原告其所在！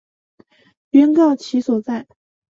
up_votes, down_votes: 2, 0